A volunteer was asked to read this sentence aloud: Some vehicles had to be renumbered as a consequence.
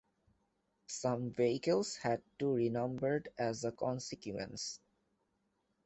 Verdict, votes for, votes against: rejected, 1, 2